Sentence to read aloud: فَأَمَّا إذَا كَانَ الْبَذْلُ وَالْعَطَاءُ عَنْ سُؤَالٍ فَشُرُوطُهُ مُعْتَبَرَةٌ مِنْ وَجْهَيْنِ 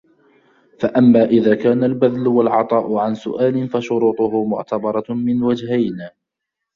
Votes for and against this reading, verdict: 2, 0, accepted